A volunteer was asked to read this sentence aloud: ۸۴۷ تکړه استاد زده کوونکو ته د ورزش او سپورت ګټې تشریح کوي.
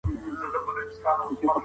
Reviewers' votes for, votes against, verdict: 0, 2, rejected